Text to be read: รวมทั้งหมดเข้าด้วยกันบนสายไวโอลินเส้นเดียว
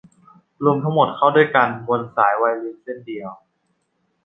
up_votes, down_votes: 2, 0